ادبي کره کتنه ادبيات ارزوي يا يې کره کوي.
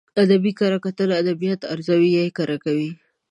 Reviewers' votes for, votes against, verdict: 2, 0, accepted